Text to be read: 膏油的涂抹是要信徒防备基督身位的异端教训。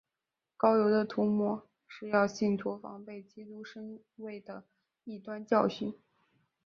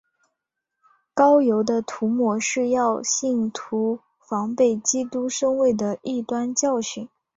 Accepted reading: first